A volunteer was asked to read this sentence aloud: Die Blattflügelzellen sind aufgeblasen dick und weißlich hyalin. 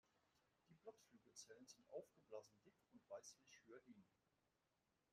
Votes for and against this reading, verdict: 0, 2, rejected